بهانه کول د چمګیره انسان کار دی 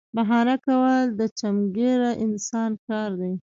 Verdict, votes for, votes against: accepted, 2, 0